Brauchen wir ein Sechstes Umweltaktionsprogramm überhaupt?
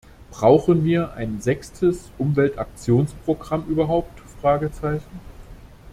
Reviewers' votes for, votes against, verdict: 0, 2, rejected